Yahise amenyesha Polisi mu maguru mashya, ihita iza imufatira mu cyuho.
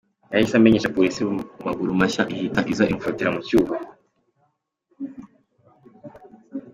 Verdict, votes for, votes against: accepted, 2, 1